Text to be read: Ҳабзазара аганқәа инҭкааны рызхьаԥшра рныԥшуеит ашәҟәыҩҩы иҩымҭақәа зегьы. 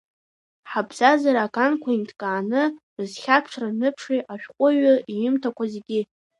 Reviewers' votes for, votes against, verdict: 2, 0, accepted